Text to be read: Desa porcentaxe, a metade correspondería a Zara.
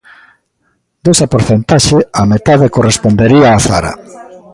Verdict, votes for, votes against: rejected, 1, 2